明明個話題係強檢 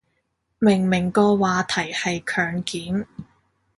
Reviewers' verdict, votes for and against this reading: accepted, 2, 0